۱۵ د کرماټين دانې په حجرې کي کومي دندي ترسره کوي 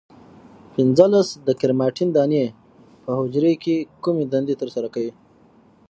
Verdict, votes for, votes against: rejected, 0, 2